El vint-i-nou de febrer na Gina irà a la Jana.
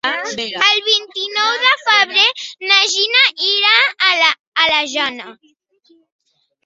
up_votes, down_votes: 0, 2